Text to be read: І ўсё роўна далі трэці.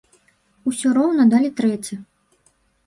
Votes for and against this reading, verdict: 0, 2, rejected